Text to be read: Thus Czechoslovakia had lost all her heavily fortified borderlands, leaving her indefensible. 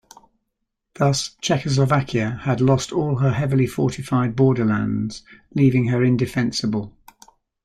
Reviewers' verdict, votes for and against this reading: accepted, 2, 0